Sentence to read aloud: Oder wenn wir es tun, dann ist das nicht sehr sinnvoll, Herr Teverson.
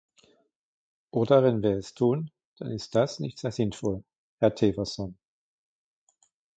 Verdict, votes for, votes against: accepted, 2, 0